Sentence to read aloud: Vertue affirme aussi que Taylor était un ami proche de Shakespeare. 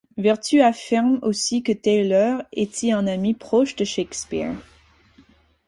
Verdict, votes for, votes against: accepted, 4, 2